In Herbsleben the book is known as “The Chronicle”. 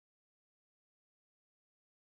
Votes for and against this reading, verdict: 0, 2, rejected